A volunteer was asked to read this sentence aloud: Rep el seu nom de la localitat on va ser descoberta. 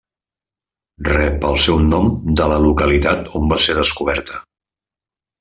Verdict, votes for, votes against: accepted, 3, 0